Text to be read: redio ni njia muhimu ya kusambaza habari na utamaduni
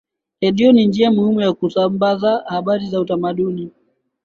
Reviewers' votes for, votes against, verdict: 3, 2, accepted